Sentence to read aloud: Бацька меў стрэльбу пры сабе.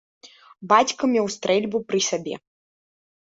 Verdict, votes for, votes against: accepted, 2, 0